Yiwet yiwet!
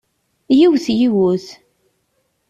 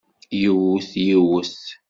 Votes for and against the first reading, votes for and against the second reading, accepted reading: 2, 0, 1, 2, first